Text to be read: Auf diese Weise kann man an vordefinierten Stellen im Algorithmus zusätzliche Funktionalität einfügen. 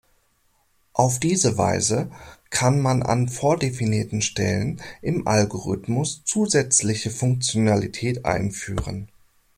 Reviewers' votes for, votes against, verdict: 0, 2, rejected